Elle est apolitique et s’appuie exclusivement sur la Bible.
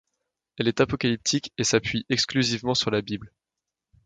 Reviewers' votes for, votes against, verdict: 0, 2, rejected